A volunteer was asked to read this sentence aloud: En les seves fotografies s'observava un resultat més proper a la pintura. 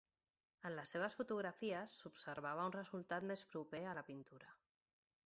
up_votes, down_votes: 2, 0